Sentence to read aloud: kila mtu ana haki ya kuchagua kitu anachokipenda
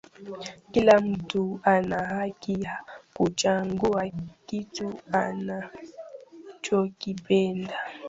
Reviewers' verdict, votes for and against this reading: rejected, 1, 2